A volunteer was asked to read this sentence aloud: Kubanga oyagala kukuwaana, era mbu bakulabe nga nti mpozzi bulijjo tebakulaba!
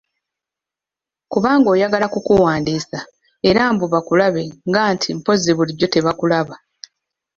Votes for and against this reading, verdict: 0, 2, rejected